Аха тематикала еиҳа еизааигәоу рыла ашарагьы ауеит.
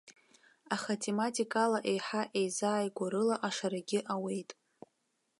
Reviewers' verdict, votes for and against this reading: accepted, 2, 0